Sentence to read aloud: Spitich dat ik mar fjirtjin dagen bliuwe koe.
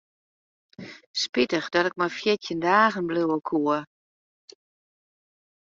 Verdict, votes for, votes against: rejected, 0, 2